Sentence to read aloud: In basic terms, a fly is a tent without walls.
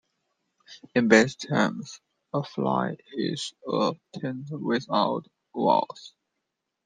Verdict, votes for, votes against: accepted, 2, 0